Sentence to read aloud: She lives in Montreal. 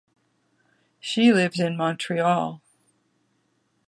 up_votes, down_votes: 2, 0